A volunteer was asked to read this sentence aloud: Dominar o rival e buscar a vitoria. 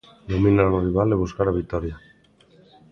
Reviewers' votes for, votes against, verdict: 2, 0, accepted